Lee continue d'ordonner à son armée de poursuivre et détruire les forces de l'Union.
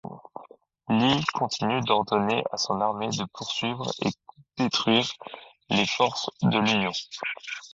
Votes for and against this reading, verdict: 2, 0, accepted